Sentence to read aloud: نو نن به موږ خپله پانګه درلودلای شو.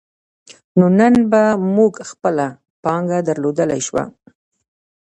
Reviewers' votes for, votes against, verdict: 2, 1, accepted